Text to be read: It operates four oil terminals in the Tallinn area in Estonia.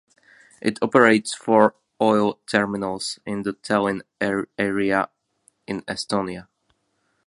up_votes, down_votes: 0, 2